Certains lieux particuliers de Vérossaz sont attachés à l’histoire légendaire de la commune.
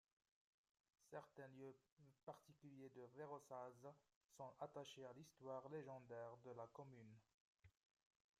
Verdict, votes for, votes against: rejected, 1, 2